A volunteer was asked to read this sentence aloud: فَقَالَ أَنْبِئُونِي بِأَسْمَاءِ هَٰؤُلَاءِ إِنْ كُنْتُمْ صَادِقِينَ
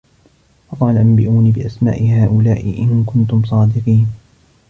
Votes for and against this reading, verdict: 2, 0, accepted